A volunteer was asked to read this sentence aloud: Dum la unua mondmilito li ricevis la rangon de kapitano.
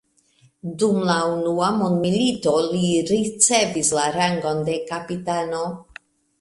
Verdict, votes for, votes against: accepted, 2, 0